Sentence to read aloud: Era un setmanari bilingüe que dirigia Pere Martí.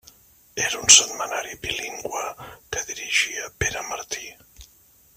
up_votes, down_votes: 1, 2